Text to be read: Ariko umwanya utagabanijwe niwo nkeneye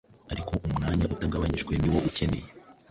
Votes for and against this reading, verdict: 0, 2, rejected